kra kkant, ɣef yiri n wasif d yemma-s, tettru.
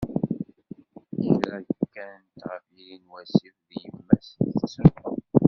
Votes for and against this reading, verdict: 0, 2, rejected